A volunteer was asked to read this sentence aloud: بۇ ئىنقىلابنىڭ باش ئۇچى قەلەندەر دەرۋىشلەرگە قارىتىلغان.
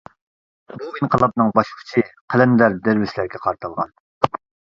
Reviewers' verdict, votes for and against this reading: accepted, 2, 1